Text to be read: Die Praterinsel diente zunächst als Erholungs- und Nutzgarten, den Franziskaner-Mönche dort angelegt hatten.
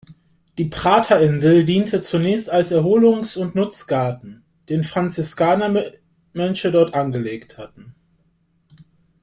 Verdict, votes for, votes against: rejected, 0, 2